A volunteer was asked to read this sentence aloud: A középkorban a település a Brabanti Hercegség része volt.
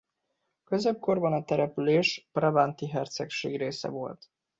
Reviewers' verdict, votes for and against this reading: accepted, 2, 0